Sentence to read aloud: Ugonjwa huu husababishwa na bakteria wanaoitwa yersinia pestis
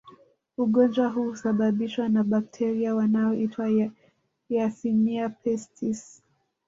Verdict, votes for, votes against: rejected, 1, 2